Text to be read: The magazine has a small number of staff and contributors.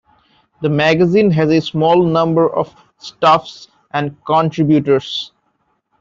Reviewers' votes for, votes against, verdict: 0, 2, rejected